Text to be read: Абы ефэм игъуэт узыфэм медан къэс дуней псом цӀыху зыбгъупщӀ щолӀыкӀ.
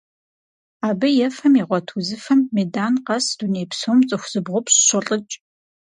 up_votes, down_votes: 4, 0